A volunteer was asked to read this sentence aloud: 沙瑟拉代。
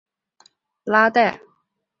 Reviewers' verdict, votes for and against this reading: rejected, 0, 2